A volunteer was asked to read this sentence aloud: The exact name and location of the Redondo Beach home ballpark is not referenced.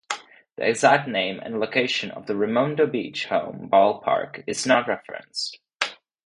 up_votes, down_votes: 0, 2